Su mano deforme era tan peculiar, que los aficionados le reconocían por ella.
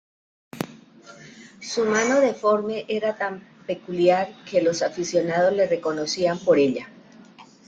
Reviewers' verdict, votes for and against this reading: accepted, 2, 0